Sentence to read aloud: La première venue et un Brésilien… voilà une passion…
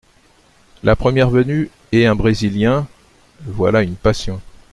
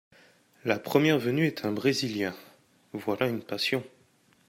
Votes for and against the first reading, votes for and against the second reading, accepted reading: 3, 0, 0, 2, first